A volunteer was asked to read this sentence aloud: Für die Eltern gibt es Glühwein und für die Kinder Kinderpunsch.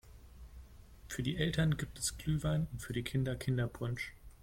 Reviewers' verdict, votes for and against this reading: accepted, 2, 0